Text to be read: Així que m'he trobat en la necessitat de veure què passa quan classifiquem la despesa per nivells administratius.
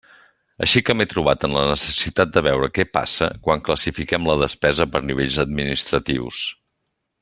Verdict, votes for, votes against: accepted, 3, 0